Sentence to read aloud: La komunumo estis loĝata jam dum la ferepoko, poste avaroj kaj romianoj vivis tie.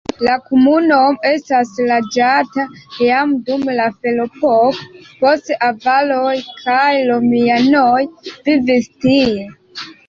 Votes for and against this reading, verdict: 2, 1, accepted